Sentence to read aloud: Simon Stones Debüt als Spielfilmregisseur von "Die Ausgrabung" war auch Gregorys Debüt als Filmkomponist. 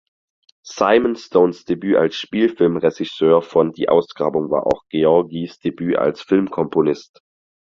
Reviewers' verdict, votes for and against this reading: rejected, 0, 4